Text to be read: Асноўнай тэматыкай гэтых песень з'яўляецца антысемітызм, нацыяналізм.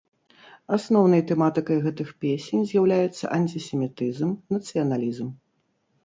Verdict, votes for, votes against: accepted, 2, 0